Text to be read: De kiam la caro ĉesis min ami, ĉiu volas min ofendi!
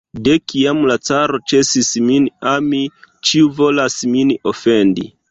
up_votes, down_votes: 2, 1